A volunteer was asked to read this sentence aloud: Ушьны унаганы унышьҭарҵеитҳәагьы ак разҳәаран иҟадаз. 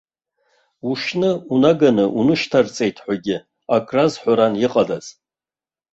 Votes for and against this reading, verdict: 2, 0, accepted